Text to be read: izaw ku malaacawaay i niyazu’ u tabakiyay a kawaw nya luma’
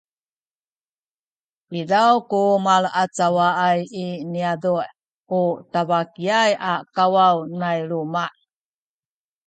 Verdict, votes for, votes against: accepted, 2, 0